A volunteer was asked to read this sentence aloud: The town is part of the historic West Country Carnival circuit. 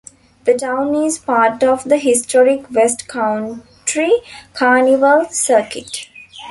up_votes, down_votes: 1, 2